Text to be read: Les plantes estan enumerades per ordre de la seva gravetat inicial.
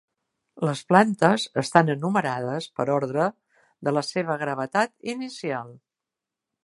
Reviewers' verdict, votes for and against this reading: accepted, 3, 0